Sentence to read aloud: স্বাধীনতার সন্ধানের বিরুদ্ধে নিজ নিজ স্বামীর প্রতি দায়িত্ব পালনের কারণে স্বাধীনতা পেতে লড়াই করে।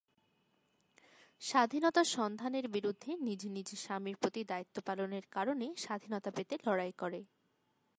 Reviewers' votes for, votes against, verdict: 2, 0, accepted